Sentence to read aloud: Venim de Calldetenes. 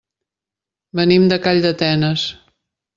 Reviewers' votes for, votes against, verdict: 3, 0, accepted